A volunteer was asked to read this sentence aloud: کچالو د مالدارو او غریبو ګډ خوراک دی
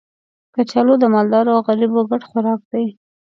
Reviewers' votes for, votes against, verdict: 2, 0, accepted